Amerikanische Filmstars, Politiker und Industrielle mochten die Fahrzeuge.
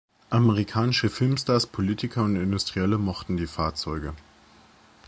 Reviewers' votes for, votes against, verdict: 2, 1, accepted